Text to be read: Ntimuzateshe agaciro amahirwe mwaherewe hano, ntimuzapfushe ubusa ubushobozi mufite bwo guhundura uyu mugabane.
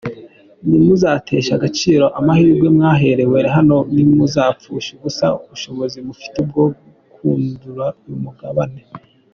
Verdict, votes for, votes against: rejected, 1, 2